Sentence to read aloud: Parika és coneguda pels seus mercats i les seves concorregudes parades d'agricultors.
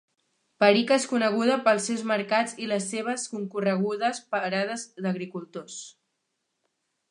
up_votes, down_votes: 3, 4